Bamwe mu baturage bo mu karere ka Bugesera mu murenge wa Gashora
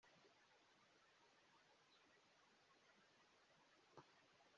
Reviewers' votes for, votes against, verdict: 0, 2, rejected